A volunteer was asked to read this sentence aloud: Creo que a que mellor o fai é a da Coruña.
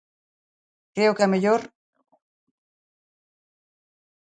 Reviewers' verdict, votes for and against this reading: rejected, 0, 2